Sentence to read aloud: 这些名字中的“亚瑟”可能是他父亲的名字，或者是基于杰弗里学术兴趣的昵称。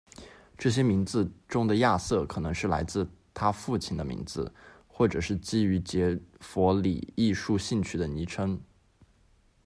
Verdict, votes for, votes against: accepted, 2, 1